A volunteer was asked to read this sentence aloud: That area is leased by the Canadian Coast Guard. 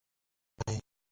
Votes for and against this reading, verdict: 0, 2, rejected